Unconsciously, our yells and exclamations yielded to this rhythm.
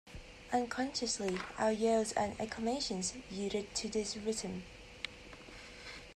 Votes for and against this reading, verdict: 0, 2, rejected